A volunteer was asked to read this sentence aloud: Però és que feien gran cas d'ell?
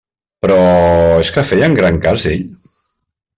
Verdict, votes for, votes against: accepted, 2, 0